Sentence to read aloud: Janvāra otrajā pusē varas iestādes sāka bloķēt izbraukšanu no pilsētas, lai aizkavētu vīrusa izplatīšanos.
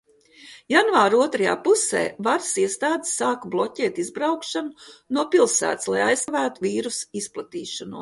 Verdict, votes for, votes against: rejected, 1, 2